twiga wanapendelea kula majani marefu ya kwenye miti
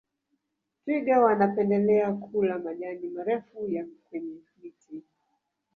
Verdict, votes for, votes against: rejected, 1, 2